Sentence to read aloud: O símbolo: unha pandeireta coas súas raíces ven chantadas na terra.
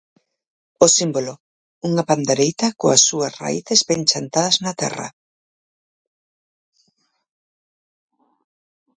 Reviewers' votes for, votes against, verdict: 0, 4, rejected